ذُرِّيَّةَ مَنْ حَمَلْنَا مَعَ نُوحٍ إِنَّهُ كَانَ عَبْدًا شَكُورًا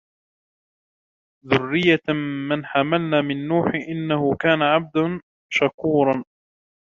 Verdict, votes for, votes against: rejected, 0, 2